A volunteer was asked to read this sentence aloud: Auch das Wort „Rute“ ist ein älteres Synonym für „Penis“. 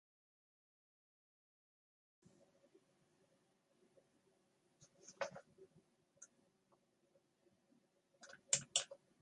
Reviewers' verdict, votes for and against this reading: rejected, 0, 2